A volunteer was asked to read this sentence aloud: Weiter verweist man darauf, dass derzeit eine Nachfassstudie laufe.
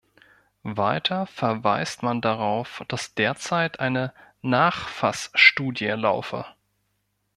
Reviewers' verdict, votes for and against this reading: accepted, 2, 0